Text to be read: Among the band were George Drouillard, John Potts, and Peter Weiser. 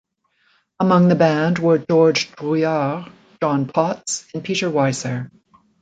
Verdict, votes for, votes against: rejected, 1, 2